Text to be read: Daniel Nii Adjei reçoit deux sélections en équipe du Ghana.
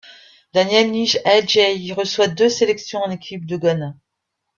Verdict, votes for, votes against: rejected, 1, 2